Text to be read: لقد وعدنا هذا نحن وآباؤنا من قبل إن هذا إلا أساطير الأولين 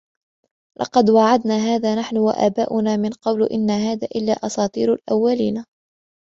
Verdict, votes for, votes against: accepted, 3, 0